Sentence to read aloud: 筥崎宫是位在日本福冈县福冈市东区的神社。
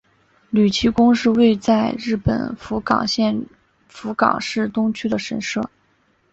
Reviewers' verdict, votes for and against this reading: accepted, 3, 2